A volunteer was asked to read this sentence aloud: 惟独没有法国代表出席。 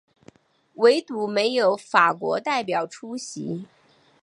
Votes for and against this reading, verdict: 2, 0, accepted